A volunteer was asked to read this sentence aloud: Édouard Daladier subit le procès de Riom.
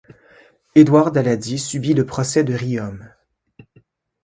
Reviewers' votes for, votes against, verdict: 1, 2, rejected